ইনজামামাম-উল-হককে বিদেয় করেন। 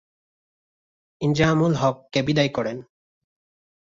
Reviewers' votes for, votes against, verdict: 1, 2, rejected